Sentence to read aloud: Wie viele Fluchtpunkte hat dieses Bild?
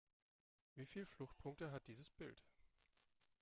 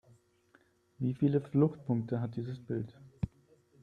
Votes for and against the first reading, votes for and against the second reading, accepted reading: 0, 2, 3, 0, second